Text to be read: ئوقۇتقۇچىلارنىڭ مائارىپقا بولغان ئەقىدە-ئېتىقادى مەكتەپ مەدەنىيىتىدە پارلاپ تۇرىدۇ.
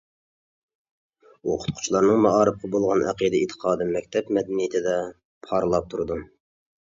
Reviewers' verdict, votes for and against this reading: accepted, 2, 0